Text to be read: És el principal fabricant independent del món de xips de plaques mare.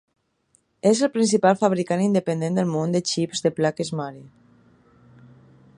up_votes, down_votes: 3, 0